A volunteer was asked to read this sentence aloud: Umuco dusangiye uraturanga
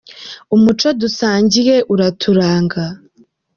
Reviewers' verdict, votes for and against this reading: rejected, 0, 2